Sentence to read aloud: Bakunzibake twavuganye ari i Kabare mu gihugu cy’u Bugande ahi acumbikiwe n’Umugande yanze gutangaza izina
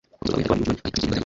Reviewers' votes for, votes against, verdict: 1, 2, rejected